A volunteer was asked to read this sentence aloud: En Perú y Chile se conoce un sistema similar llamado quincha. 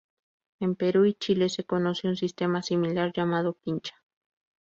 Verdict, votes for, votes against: accepted, 2, 0